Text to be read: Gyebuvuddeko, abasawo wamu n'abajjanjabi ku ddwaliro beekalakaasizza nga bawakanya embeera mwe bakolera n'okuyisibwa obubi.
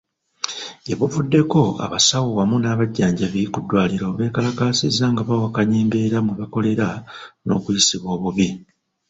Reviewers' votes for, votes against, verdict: 0, 2, rejected